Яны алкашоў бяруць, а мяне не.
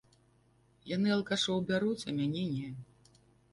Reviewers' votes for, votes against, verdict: 2, 0, accepted